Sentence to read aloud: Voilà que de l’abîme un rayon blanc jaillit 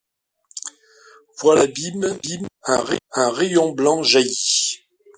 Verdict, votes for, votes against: rejected, 0, 2